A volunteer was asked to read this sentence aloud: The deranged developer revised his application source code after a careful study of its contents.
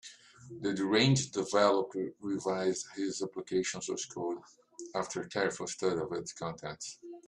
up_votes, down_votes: 2, 1